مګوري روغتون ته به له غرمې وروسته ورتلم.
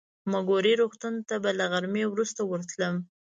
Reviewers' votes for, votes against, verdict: 3, 0, accepted